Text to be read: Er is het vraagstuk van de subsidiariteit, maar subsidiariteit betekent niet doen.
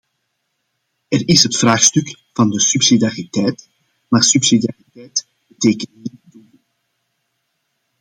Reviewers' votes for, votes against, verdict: 1, 2, rejected